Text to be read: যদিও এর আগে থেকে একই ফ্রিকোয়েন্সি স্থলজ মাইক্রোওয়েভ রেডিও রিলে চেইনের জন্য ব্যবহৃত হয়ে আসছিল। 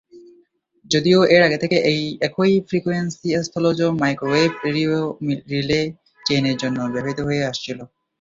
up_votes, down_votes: 4, 3